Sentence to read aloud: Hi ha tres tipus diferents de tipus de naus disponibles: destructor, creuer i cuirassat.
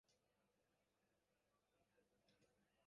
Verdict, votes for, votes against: rejected, 0, 2